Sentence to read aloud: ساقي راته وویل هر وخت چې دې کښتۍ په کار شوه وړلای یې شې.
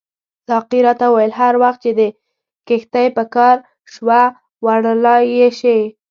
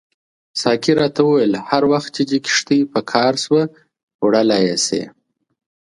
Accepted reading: second